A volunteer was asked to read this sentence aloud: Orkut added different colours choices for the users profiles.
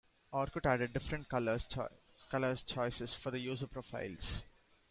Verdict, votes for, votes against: rejected, 0, 2